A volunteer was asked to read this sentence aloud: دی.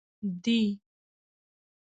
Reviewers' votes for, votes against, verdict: 1, 2, rejected